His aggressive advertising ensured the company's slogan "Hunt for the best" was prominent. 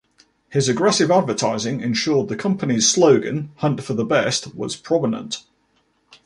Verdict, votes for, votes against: accepted, 2, 0